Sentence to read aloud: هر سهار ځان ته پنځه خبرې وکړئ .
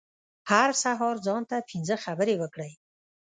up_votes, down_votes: 0, 2